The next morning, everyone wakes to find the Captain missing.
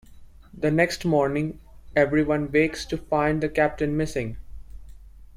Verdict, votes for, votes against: accepted, 2, 0